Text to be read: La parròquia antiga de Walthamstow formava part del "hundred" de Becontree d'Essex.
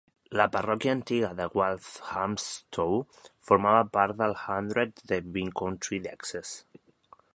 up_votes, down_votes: 0, 2